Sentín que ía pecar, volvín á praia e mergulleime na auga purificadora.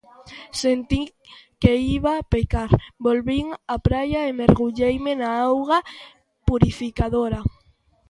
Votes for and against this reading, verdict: 0, 2, rejected